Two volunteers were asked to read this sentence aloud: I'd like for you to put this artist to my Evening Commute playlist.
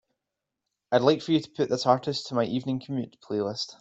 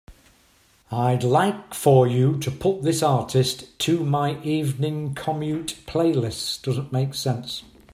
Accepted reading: first